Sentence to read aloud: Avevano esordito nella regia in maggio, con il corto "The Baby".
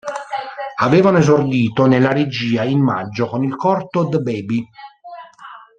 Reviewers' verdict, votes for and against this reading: rejected, 0, 2